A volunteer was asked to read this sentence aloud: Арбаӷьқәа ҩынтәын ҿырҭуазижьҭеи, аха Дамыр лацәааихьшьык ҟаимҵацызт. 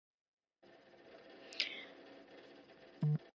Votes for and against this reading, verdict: 0, 2, rejected